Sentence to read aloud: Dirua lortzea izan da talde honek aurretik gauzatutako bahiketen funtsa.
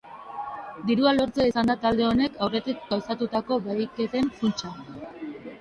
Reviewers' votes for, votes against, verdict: 0, 2, rejected